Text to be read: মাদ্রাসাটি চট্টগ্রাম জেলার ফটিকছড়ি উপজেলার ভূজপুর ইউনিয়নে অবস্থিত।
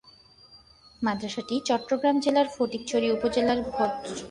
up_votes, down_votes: 1, 10